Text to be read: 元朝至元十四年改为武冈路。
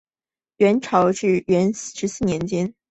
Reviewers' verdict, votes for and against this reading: rejected, 0, 2